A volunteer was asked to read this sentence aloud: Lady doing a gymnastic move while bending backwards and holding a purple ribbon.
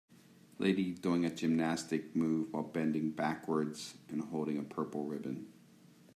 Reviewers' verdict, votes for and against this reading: accepted, 2, 0